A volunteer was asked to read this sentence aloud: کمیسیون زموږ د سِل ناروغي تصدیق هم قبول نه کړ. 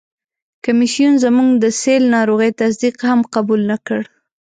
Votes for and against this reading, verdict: 2, 0, accepted